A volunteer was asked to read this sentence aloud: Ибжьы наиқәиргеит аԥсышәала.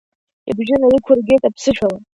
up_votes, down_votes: 1, 2